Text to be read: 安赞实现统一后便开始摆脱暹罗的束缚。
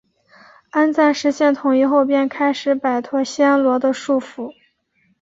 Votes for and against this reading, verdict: 4, 0, accepted